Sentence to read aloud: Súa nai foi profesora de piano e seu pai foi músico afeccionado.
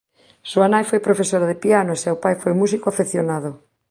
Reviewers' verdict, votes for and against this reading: accepted, 4, 0